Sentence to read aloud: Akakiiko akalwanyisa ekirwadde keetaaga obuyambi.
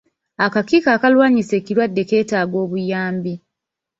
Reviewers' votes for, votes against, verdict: 1, 2, rejected